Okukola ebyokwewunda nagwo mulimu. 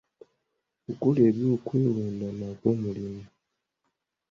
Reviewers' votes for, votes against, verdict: 2, 0, accepted